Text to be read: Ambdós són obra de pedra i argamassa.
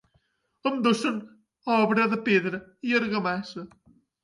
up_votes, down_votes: 2, 0